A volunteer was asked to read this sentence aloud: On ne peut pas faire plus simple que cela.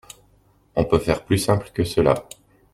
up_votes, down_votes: 0, 2